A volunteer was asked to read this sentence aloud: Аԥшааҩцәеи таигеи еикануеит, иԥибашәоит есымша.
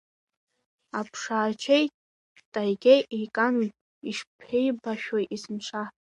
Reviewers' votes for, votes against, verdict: 1, 2, rejected